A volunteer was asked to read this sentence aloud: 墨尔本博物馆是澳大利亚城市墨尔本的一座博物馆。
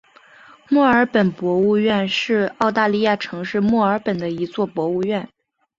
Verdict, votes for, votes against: rejected, 0, 2